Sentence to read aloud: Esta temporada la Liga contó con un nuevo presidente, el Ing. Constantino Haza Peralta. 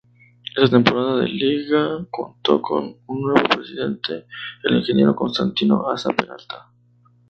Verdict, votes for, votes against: rejected, 0, 2